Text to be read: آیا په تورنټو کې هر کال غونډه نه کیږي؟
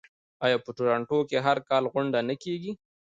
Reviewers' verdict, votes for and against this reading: rejected, 1, 2